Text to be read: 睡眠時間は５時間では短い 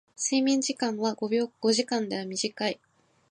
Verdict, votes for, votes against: rejected, 0, 2